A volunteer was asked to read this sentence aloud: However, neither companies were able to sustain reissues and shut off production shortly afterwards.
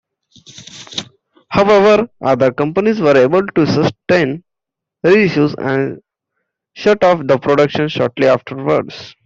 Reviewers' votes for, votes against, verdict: 1, 2, rejected